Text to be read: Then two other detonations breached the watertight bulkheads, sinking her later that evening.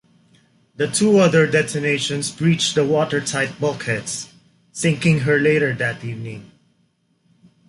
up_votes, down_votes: 2, 3